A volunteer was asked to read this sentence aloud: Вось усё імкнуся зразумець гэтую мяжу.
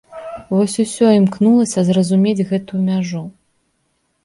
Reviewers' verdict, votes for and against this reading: rejected, 0, 2